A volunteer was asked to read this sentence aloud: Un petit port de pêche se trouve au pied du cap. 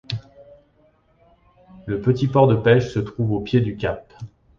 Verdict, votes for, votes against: rejected, 0, 2